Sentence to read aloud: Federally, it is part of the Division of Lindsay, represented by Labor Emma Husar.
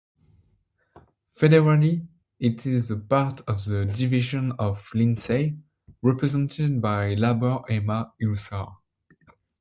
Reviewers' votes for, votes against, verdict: 1, 2, rejected